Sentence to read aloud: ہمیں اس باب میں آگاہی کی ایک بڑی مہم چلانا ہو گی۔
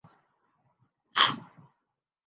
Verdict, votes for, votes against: rejected, 0, 2